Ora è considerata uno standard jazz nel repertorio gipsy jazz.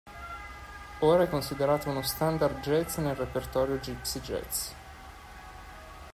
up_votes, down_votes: 1, 2